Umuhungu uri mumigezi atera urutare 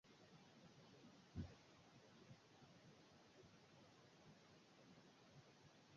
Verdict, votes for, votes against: rejected, 1, 2